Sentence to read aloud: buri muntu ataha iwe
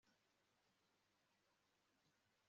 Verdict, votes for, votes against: rejected, 1, 2